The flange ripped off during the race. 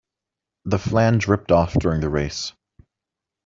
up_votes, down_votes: 2, 0